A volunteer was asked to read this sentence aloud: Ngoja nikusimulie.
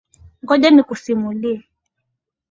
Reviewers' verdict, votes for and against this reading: accepted, 2, 0